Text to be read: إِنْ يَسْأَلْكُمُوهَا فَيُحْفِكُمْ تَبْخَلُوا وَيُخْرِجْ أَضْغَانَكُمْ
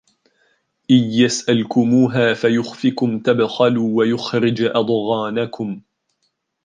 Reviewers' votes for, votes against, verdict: 1, 2, rejected